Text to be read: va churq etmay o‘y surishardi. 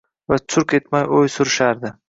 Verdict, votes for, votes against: rejected, 1, 2